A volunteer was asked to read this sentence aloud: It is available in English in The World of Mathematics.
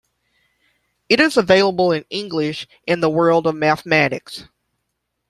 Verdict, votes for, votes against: accepted, 2, 1